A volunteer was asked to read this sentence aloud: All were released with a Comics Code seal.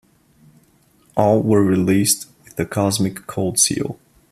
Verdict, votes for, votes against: rejected, 0, 2